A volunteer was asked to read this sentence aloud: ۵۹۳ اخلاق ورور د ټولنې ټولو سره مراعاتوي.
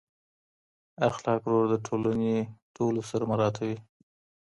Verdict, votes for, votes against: rejected, 0, 2